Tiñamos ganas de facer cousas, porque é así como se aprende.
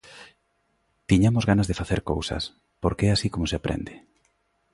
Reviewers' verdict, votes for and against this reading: accepted, 2, 0